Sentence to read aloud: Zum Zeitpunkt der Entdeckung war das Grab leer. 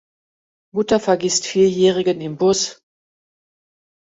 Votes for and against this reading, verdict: 0, 2, rejected